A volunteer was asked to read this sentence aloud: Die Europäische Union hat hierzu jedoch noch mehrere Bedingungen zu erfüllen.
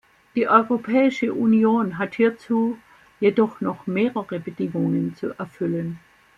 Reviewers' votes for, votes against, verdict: 2, 0, accepted